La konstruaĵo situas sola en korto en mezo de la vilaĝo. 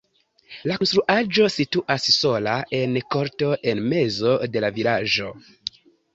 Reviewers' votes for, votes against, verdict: 2, 1, accepted